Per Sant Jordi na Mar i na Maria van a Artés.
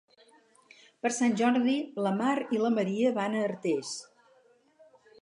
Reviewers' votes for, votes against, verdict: 0, 4, rejected